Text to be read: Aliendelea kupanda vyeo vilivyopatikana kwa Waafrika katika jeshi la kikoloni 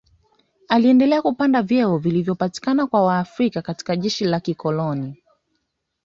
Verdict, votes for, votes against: accepted, 2, 0